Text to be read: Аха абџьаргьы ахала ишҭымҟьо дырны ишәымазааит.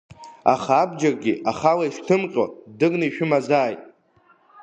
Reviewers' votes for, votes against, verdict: 3, 1, accepted